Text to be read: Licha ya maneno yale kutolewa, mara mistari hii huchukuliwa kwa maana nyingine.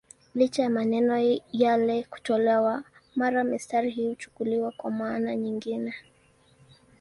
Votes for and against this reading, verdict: 2, 0, accepted